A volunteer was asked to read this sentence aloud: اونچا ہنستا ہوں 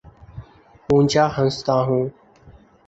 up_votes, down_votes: 2, 0